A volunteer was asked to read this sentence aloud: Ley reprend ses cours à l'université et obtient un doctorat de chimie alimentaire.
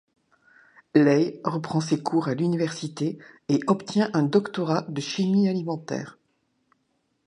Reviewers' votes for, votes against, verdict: 2, 0, accepted